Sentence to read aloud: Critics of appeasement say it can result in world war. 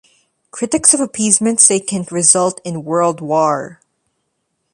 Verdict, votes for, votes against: accepted, 2, 0